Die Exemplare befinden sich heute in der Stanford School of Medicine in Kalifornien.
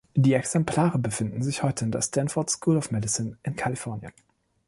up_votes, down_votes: 2, 0